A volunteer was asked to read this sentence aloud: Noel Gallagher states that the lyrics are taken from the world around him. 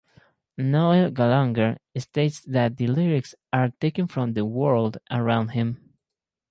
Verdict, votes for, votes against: rejected, 0, 2